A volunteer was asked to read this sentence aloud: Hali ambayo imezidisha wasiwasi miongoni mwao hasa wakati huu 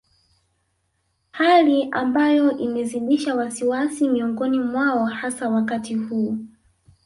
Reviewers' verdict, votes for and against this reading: accepted, 3, 0